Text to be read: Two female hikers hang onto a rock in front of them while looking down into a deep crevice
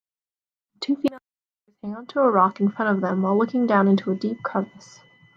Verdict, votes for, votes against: rejected, 0, 3